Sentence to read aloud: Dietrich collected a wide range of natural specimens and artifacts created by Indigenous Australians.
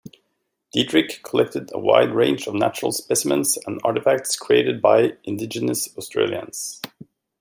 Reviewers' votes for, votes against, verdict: 2, 0, accepted